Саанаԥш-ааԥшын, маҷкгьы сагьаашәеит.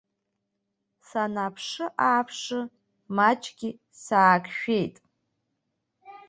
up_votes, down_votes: 1, 2